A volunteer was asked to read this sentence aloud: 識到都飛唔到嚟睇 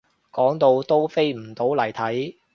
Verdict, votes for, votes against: rejected, 0, 2